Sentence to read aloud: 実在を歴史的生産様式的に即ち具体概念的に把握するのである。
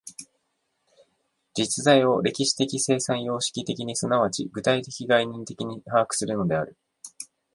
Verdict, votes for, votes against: accepted, 2, 1